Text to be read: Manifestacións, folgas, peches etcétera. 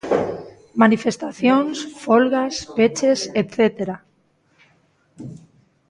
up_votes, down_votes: 0, 2